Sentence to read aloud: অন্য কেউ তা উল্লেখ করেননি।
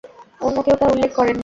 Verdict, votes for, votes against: rejected, 0, 2